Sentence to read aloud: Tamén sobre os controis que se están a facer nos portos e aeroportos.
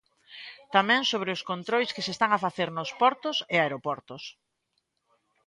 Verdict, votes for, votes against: rejected, 0, 2